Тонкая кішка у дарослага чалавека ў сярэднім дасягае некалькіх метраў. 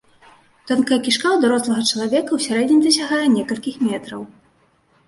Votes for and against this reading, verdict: 2, 0, accepted